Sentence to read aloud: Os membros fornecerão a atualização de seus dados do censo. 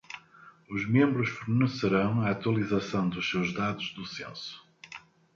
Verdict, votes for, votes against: accepted, 2, 0